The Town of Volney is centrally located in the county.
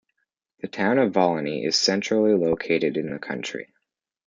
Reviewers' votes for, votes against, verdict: 2, 1, accepted